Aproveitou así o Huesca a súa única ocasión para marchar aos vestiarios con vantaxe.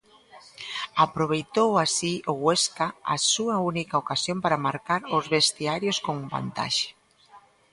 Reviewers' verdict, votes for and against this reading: rejected, 0, 2